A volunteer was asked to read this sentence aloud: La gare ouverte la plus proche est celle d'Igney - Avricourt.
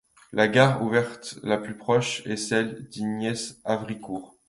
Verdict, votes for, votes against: accepted, 2, 1